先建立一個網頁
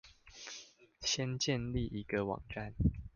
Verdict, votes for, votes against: rejected, 0, 2